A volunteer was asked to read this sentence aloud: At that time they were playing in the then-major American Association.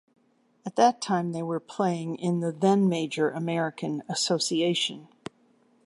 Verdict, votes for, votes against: accepted, 2, 0